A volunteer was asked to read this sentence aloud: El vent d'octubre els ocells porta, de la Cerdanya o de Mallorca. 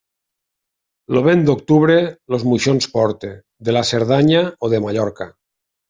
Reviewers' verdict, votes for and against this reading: rejected, 0, 2